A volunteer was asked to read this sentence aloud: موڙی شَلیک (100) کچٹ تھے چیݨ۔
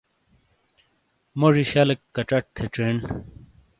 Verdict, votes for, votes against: rejected, 0, 2